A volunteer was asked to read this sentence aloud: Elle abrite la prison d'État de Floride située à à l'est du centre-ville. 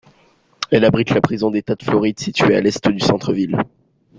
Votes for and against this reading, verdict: 1, 2, rejected